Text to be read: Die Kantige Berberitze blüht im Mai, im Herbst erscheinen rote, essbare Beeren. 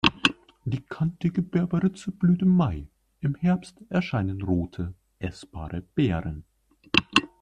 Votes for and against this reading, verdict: 2, 1, accepted